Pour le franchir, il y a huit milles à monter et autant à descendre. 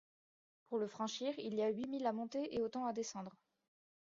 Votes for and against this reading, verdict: 1, 2, rejected